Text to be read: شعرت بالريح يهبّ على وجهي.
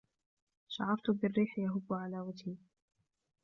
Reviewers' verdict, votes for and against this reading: accepted, 3, 1